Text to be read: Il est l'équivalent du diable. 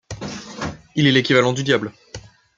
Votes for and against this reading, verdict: 2, 0, accepted